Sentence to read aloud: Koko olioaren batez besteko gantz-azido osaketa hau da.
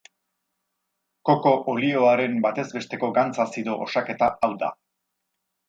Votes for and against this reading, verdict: 4, 0, accepted